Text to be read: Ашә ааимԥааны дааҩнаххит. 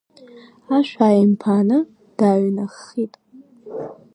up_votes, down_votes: 0, 2